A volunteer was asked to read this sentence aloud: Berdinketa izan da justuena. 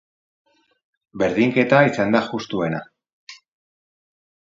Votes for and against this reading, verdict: 2, 4, rejected